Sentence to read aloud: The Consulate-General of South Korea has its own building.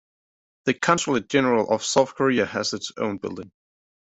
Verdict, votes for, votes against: accepted, 2, 0